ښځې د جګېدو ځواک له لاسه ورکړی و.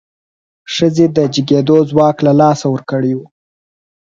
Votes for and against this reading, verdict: 4, 0, accepted